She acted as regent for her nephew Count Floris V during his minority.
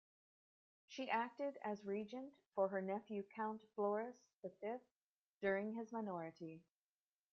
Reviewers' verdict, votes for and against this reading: rejected, 1, 2